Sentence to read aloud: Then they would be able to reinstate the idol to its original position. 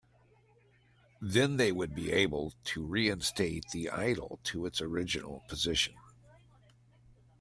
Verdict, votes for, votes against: accepted, 2, 0